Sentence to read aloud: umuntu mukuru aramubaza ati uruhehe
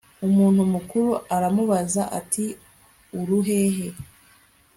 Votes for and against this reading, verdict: 2, 0, accepted